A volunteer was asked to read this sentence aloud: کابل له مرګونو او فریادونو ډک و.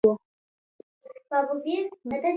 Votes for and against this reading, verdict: 0, 2, rejected